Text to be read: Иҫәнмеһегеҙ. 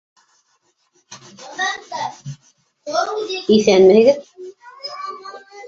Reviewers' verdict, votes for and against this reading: rejected, 0, 2